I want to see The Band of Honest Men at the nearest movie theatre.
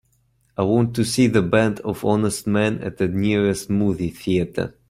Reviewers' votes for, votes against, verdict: 4, 0, accepted